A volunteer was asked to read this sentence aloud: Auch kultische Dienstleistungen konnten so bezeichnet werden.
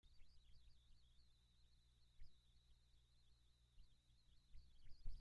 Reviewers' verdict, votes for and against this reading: rejected, 0, 2